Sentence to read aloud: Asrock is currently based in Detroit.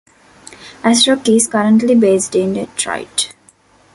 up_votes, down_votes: 2, 0